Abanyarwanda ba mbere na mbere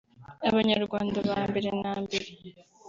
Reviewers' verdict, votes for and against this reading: accepted, 2, 0